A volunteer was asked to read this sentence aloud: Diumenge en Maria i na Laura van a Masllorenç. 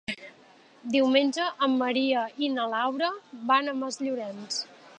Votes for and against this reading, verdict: 3, 0, accepted